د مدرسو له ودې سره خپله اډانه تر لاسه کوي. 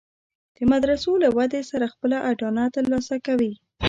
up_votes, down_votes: 1, 2